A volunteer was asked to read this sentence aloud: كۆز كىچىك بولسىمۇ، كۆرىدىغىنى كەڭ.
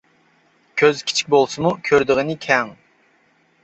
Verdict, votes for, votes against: accepted, 2, 0